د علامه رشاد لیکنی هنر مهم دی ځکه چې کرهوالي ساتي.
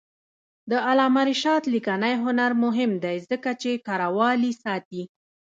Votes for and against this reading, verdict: 1, 2, rejected